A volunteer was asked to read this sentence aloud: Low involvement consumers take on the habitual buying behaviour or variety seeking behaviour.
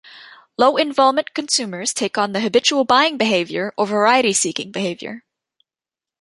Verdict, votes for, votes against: accepted, 2, 0